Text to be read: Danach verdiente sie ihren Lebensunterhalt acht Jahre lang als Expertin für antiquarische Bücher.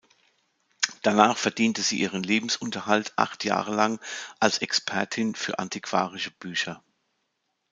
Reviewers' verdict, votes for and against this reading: accepted, 2, 0